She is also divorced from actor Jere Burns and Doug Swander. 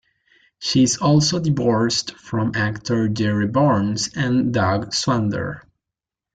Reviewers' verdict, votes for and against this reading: rejected, 0, 2